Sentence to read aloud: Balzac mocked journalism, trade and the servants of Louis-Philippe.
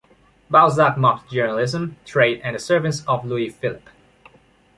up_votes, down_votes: 2, 0